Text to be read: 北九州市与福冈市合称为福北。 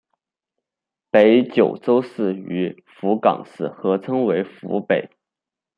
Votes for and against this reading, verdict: 2, 1, accepted